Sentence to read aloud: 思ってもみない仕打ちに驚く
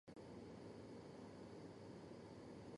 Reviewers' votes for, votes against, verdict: 0, 2, rejected